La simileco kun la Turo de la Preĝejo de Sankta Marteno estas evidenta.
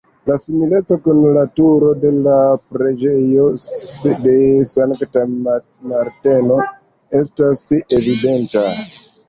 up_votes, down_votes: 2, 1